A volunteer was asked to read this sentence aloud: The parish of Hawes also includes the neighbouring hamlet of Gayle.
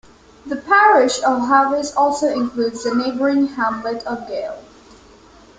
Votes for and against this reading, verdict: 0, 2, rejected